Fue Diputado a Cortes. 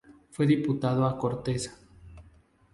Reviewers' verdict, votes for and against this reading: rejected, 2, 2